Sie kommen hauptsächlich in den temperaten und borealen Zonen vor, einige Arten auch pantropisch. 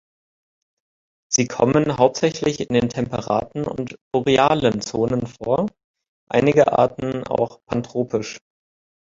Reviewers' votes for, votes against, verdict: 2, 0, accepted